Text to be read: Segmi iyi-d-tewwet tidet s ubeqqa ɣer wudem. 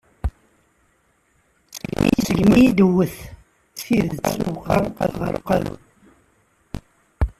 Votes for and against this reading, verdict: 0, 2, rejected